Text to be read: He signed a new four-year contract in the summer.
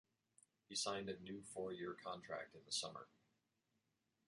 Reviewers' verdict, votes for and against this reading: rejected, 1, 2